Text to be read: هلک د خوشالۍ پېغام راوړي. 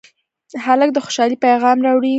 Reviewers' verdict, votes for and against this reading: accepted, 2, 0